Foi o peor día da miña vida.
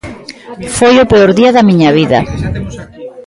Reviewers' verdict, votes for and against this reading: rejected, 1, 2